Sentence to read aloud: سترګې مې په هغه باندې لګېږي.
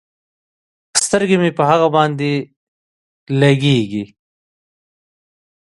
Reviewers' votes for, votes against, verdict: 2, 1, accepted